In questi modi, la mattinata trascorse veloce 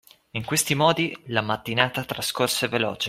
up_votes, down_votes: 2, 0